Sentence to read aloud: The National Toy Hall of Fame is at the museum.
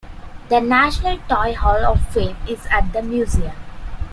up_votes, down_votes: 2, 0